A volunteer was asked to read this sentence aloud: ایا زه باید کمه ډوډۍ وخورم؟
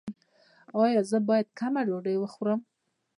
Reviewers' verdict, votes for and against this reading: rejected, 0, 2